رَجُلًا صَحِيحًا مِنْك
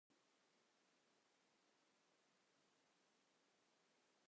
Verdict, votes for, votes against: rejected, 0, 2